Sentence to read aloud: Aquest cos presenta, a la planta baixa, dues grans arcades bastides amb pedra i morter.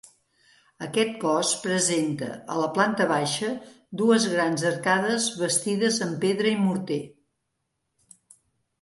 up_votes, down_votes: 3, 0